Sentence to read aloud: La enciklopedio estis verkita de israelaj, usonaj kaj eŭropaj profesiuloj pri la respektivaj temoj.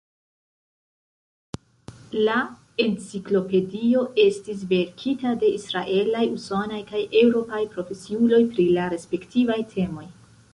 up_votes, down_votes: 2, 0